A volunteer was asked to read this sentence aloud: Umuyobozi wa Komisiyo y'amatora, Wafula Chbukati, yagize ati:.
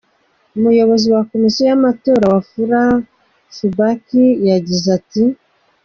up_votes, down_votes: 2, 0